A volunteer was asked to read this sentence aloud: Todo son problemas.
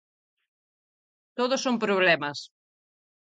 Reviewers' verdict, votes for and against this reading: accepted, 4, 0